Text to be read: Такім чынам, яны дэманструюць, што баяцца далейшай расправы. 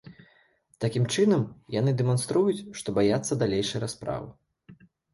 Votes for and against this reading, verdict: 2, 0, accepted